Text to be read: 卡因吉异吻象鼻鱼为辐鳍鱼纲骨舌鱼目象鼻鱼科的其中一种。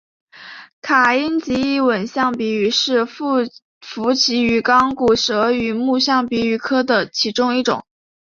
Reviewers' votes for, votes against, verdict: 4, 0, accepted